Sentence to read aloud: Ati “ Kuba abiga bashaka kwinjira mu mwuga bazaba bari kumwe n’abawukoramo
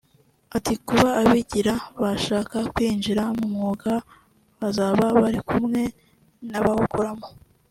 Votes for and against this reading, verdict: 0, 2, rejected